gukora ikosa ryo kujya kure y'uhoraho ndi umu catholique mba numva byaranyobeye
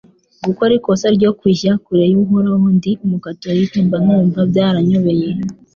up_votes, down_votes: 2, 0